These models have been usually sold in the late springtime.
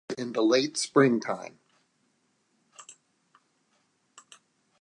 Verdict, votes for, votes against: rejected, 0, 2